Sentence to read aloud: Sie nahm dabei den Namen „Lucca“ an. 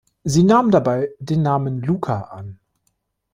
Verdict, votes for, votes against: accepted, 3, 0